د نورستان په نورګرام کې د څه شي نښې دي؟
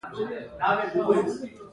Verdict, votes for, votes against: rejected, 0, 2